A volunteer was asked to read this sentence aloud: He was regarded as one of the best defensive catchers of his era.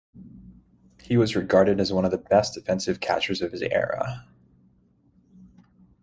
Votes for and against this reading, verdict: 2, 0, accepted